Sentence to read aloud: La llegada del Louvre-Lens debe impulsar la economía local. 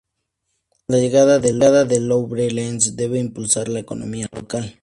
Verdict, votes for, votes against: rejected, 0, 2